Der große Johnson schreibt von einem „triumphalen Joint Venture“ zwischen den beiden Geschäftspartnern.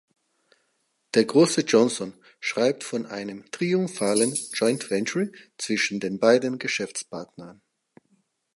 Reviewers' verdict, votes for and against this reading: accepted, 4, 0